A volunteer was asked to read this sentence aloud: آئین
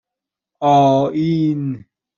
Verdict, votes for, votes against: accepted, 2, 0